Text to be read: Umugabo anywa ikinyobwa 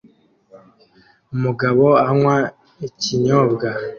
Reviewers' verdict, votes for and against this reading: accepted, 2, 0